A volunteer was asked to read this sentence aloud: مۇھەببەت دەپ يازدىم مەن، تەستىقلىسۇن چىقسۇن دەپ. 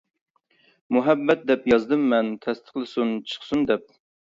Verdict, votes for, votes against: accepted, 2, 0